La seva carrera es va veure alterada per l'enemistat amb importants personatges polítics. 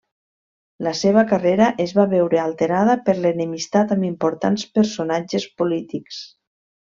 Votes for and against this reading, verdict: 3, 0, accepted